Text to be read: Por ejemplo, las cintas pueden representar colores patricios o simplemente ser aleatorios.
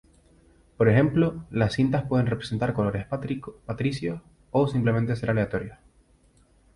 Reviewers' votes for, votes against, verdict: 2, 0, accepted